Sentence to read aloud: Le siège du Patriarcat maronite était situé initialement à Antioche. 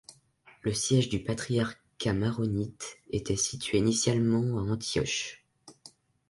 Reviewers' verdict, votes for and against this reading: accepted, 3, 1